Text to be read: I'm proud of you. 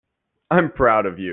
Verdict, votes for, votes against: accepted, 2, 0